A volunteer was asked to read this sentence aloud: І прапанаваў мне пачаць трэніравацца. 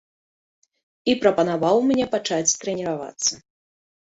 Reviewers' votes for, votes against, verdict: 2, 0, accepted